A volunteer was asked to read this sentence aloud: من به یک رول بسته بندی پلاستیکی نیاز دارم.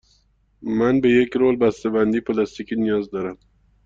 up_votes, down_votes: 2, 1